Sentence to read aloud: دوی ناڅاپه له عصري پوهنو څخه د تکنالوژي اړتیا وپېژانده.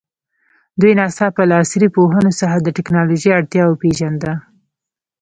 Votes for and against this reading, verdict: 2, 0, accepted